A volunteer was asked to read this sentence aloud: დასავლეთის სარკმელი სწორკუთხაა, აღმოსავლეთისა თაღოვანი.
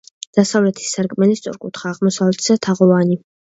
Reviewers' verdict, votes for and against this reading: accepted, 2, 0